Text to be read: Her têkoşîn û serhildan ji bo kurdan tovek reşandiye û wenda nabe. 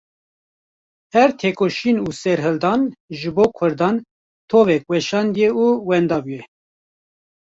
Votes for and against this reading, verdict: 1, 2, rejected